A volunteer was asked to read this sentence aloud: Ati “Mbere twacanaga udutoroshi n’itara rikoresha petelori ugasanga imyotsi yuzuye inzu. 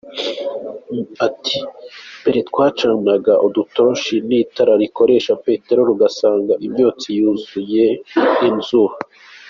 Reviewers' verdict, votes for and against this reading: accepted, 3, 0